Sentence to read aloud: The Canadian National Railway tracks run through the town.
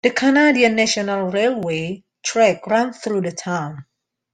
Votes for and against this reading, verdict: 1, 2, rejected